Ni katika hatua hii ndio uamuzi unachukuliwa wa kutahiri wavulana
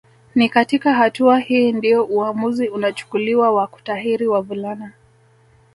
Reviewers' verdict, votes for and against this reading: accepted, 2, 0